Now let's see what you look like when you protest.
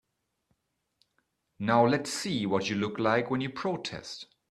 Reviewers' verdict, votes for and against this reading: accepted, 2, 0